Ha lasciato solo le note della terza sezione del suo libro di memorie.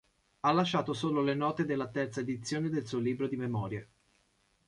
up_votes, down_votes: 1, 2